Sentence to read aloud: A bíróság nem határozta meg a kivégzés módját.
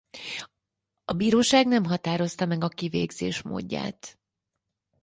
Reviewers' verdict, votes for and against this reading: accepted, 4, 0